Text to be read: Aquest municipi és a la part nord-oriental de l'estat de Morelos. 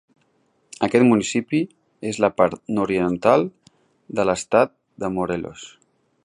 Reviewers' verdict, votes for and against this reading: rejected, 1, 2